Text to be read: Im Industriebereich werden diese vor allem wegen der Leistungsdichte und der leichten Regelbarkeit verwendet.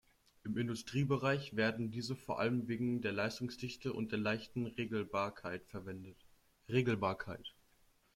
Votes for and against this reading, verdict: 0, 2, rejected